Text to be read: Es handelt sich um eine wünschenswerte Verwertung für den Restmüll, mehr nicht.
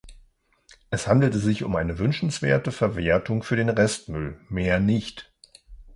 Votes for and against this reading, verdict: 0, 2, rejected